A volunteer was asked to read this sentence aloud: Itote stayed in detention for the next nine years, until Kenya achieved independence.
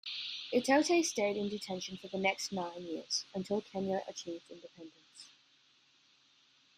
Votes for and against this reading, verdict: 1, 2, rejected